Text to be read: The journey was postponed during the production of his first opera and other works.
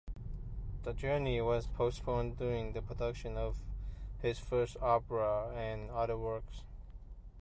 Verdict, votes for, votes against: accepted, 2, 1